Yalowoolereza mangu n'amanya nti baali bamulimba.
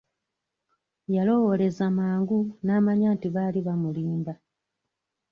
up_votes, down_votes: 1, 2